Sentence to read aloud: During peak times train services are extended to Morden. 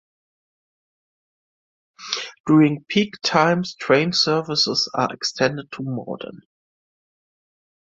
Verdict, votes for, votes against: accepted, 2, 0